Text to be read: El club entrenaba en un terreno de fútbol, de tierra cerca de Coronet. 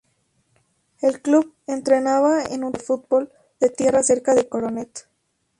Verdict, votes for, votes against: rejected, 0, 2